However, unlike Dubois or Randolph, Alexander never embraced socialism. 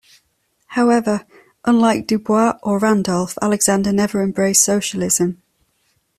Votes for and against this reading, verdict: 2, 0, accepted